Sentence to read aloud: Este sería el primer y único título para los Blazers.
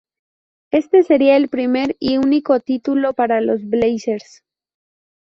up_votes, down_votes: 0, 2